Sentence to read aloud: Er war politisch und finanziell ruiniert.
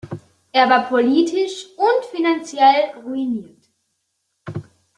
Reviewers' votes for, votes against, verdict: 2, 1, accepted